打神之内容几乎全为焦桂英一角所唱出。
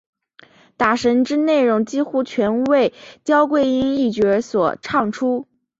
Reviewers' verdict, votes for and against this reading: accepted, 6, 2